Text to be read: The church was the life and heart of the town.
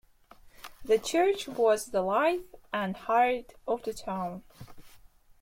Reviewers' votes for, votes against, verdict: 2, 1, accepted